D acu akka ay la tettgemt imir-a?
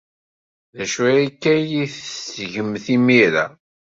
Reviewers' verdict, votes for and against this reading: rejected, 1, 2